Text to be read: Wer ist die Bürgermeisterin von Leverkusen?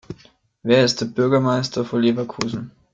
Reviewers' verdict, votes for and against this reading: rejected, 0, 2